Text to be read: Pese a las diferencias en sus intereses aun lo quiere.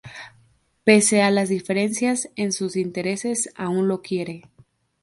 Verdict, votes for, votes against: accepted, 2, 0